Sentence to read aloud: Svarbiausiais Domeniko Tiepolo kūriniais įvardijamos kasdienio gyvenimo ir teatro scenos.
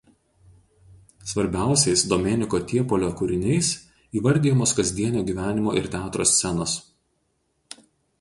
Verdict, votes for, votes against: rejected, 0, 2